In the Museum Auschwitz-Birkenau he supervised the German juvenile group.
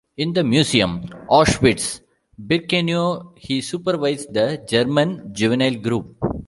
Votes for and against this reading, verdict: 1, 2, rejected